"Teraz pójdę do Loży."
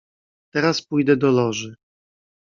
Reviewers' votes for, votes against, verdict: 2, 0, accepted